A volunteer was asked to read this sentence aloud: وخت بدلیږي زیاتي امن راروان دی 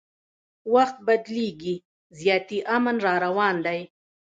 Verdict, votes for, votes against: rejected, 0, 2